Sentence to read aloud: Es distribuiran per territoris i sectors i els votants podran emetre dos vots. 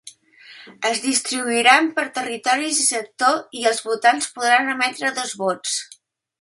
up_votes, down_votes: 1, 2